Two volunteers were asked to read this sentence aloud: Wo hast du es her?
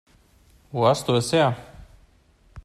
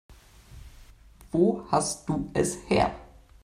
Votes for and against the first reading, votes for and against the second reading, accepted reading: 2, 0, 0, 2, first